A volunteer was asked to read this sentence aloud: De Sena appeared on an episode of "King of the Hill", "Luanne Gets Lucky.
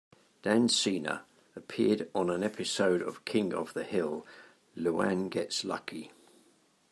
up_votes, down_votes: 0, 2